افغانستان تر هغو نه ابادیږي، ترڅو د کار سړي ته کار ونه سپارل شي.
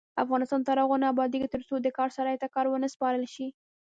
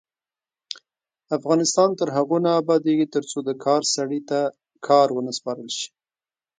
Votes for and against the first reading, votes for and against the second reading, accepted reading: 1, 2, 2, 0, second